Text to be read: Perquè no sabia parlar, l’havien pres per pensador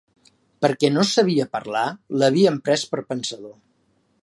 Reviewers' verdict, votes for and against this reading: accepted, 2, 0